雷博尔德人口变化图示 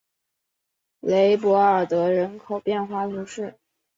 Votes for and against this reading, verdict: 3, 0, accepted